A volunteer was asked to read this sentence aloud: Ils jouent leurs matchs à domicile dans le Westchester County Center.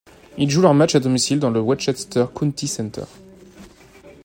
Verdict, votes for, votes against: rejected, 1, 2